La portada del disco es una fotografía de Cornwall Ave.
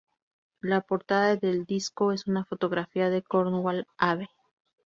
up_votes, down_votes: 4, 0